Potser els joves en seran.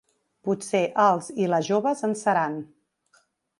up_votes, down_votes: 0, 3